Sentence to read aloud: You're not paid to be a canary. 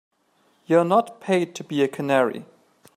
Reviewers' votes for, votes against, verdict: 4, 0, accepted